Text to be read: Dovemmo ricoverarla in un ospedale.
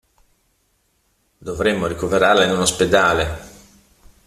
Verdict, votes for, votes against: accepted, 2, 1